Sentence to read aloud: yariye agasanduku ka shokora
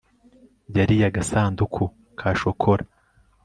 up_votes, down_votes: 2, 0